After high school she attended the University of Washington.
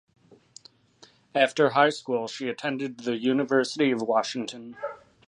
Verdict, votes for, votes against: accepted, 2, 0